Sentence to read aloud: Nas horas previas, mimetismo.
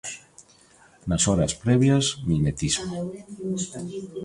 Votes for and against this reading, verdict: 0, 2, rejected